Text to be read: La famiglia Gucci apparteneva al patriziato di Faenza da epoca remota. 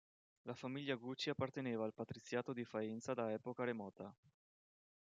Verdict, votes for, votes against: accepted, 2, 0